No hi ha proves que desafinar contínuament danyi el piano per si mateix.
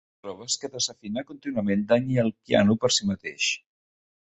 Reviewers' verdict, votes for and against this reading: rejected, 0, 2